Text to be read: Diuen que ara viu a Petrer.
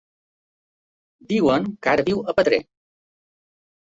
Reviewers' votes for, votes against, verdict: 2, 0, accepted